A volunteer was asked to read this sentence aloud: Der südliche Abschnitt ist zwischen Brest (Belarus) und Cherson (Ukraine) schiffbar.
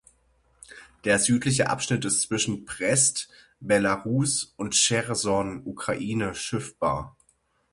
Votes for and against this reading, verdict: 3, 6, rejected